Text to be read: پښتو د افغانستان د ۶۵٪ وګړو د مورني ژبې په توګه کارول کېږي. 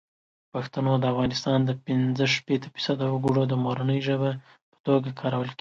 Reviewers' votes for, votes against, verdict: 0, 2, rejected